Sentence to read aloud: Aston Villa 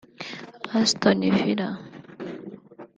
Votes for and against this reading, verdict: 1, 2, rejected